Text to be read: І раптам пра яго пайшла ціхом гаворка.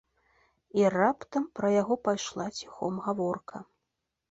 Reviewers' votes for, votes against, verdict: 2, 0, accepted